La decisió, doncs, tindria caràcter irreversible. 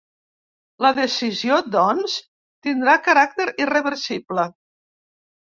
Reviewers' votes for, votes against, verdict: 0, 2, rejected